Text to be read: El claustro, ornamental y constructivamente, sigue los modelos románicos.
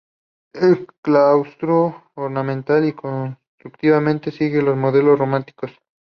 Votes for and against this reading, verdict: 0, 2, rejected